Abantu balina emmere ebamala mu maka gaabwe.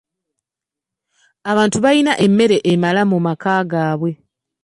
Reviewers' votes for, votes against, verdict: 0, 2, rejected